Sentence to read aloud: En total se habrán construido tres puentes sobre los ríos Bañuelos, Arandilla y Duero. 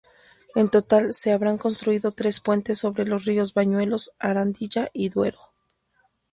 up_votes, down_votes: 4, 0